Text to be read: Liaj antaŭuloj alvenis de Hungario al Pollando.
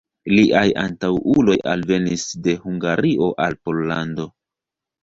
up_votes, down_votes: 1, 2